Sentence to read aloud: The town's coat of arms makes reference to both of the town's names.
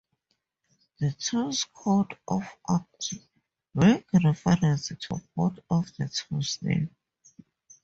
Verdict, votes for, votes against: rejected, 0, 2